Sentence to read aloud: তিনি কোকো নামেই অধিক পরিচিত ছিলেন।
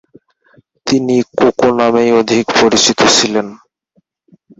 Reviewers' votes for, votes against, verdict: 4, 6, rejected